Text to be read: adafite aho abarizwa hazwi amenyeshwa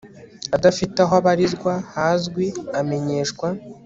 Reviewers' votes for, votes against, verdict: 2, 0, accepted